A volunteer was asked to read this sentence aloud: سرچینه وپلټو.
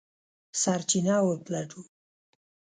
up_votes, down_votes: 0, 2